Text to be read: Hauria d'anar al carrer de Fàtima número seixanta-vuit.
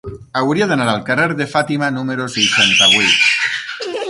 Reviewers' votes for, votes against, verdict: 0, 6, rejected